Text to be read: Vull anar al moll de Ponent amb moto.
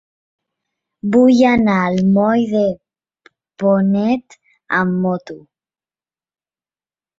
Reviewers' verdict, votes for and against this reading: rejected, 1, 2